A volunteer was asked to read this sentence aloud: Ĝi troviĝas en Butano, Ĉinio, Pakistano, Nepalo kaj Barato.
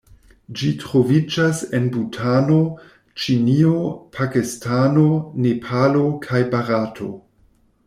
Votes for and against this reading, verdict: 2, 0, accepted